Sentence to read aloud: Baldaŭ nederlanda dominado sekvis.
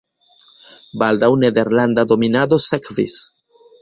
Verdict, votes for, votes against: accepted, 2, 0